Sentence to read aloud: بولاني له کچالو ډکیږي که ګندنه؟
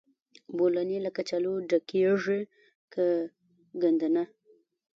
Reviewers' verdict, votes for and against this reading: rejected, 0, 2